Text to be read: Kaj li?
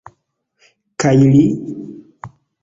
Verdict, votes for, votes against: accepted, 3, 0